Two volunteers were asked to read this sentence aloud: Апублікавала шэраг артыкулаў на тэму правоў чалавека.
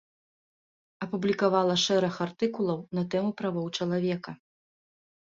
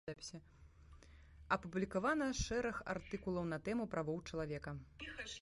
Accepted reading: first